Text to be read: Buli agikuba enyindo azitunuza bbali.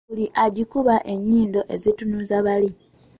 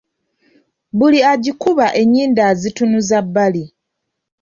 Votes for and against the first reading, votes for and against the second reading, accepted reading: 0, 2, 2, 0, second